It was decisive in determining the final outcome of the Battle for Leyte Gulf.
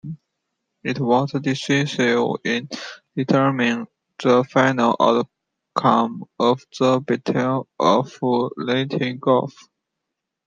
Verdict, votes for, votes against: rejected, 1, 2